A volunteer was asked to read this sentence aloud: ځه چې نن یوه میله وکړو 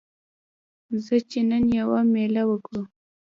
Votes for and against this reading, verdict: 1, 2, rejected